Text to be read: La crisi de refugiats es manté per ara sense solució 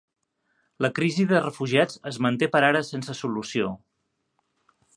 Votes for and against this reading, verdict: 4, 0, accepted